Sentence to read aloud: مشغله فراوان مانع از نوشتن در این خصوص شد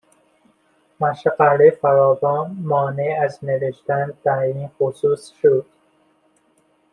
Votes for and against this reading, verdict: 2, 0, accepted